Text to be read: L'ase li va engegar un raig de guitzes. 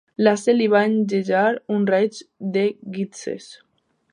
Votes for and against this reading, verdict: 1, 2, rejected